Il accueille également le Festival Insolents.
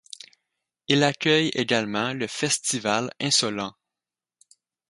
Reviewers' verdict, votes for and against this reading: accepted, 4, 0